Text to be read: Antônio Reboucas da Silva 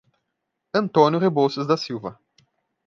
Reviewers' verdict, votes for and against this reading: rejected, 1, 2